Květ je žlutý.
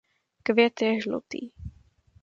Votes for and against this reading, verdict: 2, 0, accepted